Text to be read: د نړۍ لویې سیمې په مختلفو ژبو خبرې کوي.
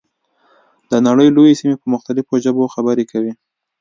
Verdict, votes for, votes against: accepted, 2, 0